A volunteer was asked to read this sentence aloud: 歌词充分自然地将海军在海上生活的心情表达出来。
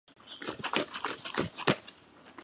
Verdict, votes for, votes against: accepted, 4, 3